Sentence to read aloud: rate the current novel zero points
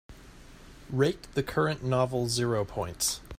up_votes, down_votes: 2, 0